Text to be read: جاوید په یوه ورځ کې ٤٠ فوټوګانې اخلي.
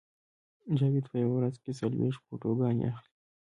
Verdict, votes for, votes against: rejected, 0, 2